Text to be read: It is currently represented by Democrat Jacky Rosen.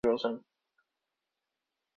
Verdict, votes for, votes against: rejected, 0, 2